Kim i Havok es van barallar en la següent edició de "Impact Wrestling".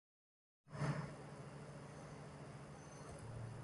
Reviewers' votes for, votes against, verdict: 0, 2, rejected